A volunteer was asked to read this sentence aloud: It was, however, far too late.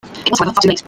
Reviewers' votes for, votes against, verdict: 0, 2, rejected